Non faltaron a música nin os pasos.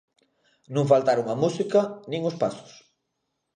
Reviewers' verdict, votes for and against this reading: accepted, 2, 0